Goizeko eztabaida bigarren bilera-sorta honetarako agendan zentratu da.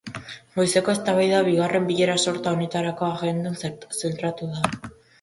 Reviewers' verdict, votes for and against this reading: rejected, 0, 2